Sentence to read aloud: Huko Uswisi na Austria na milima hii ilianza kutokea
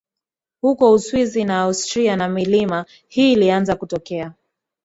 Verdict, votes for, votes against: accepted, 4, 0